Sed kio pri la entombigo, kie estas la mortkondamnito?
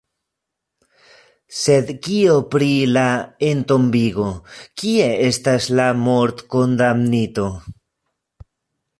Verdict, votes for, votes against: rejected, 1, 2